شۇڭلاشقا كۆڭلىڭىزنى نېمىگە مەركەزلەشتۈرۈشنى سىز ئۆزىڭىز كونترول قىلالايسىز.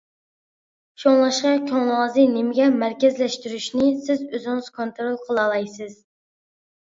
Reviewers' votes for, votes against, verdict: 2, 1, accepted